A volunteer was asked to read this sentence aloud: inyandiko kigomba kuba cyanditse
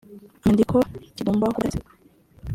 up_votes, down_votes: 0, 2